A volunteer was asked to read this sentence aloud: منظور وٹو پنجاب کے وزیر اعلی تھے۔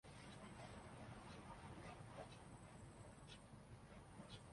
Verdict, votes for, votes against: rejected, 0, 2